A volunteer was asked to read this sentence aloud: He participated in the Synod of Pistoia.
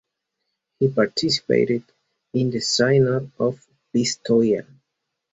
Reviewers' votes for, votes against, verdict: 4, 0, accepted